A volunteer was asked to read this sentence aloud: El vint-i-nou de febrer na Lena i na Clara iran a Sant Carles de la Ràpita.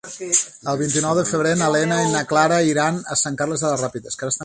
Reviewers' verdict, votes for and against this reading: rejected, 1, 2